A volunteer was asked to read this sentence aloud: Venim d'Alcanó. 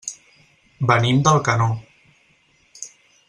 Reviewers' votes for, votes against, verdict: 4, 0, accepted